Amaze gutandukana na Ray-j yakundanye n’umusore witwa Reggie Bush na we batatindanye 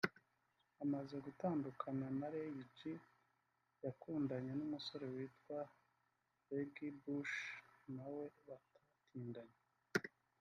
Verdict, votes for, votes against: rejected, 2, 3